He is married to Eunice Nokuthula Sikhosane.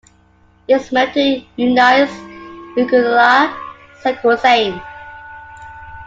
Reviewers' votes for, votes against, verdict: 1, 2, rejected